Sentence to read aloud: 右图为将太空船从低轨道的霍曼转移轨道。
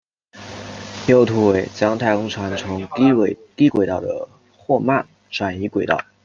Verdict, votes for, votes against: rejected, 1, 2